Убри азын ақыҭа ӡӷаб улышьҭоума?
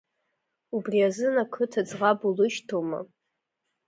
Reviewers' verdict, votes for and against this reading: accepted, 2, 0